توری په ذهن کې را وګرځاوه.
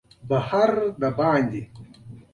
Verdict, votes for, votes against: rejected, 0, 2